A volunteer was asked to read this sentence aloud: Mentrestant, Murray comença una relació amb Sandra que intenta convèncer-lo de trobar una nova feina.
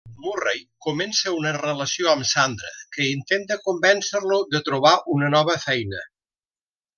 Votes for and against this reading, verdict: 0, 2, rejected